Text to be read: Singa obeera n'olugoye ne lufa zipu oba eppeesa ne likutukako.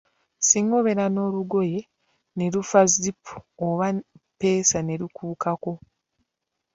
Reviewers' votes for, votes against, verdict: 0, 2, rejected